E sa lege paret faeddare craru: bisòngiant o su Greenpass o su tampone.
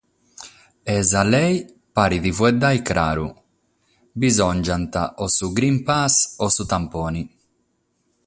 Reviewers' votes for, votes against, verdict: 6, 0, accepted